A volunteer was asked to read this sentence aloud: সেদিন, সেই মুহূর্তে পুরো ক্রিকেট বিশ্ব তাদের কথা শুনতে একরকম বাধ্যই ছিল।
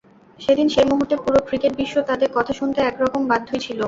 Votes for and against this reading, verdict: 2, 0, accepted